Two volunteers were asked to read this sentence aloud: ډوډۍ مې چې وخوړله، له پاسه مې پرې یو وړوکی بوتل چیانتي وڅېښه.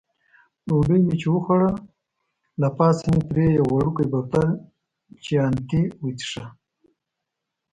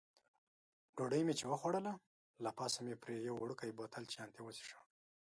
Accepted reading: second